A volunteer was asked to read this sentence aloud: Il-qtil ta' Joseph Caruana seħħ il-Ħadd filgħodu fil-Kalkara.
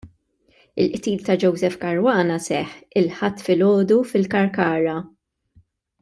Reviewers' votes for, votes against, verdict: 2, 0, accepted